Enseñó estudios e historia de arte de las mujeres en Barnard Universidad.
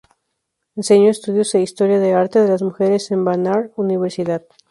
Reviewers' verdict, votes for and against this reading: rejected, 0, 2